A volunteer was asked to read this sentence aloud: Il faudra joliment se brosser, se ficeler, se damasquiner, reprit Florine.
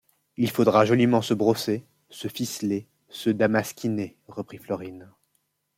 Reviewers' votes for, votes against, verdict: 2, 0, accepted